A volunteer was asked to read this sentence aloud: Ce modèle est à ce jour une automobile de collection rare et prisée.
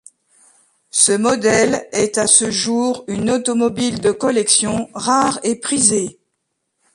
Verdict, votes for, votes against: accepted, 2, 1